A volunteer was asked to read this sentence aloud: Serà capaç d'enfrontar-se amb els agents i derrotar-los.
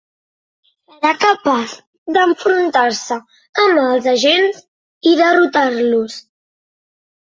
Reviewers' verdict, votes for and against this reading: accepted, 2, 1